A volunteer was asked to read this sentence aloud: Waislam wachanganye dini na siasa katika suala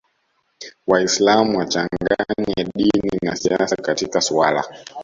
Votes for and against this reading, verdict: 1, 2, rejected